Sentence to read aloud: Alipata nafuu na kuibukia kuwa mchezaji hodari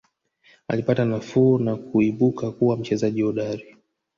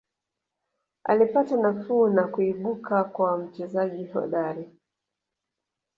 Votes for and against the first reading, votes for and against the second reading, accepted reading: 3, 1, 0, 2, first